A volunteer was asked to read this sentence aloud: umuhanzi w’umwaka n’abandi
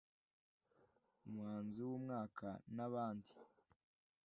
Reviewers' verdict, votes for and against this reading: accepted, 2, 0